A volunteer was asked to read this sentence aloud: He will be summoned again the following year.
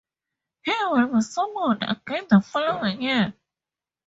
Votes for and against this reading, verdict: 4, 0, accepted